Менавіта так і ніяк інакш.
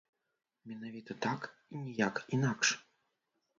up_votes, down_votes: 0, 2